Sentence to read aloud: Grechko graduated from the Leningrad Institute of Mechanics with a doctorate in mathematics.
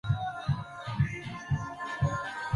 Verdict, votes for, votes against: rejected, 0, 2